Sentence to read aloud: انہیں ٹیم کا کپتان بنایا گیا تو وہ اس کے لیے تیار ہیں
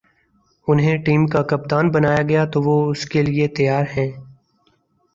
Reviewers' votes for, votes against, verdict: 2, 2, rejected